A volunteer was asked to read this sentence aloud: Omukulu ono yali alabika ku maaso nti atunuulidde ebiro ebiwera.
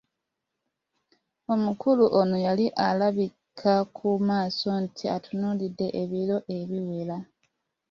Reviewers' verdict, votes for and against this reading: accepted, 2, 1